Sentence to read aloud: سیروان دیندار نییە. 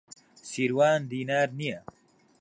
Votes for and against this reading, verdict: 0, 3, rejected